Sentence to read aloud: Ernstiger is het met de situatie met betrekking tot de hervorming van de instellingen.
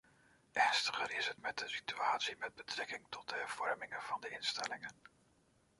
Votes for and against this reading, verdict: 0, 2, rejected